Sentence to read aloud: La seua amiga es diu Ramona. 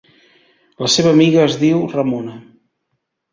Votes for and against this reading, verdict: 1, 2, rejected